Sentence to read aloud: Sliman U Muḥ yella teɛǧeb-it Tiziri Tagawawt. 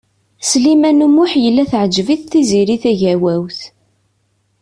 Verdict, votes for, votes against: accepted, 2, 0